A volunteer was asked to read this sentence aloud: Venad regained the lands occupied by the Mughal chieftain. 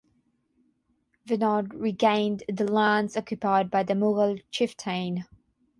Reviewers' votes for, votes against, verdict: 6, 0, accepted